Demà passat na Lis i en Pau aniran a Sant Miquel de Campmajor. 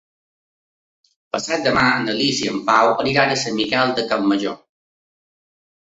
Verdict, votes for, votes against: rejected, 0, 2